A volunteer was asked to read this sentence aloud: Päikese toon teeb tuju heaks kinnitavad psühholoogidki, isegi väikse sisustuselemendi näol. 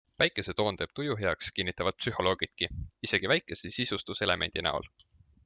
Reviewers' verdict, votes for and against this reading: accepted, 2, 0